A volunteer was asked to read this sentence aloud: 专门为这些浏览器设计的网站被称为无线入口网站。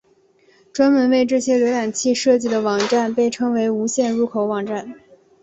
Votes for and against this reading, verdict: 3, 0, accepted